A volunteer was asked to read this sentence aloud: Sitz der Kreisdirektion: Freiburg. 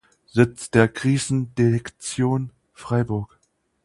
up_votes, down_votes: 0, 4